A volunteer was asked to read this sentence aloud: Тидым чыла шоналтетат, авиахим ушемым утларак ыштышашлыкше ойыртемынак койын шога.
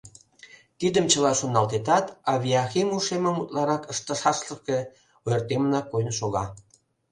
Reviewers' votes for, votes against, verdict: 1, 2, rejected